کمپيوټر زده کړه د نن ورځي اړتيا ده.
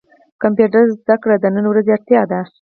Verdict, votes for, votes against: rejected, 2, 4